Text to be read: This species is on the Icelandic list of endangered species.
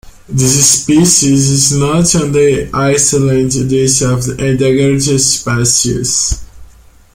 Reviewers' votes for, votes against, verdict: 0, 2, rejected